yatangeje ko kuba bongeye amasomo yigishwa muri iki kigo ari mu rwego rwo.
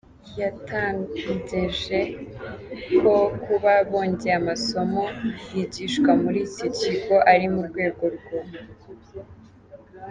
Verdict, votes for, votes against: accepted, 2, 1